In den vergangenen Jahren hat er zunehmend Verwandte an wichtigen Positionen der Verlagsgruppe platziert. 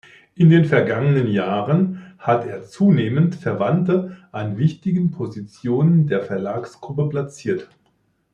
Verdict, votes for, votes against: accepted, 2, 0